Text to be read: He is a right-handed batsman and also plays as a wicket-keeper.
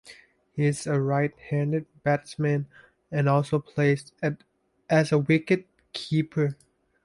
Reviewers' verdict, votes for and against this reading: rejected, 1, 2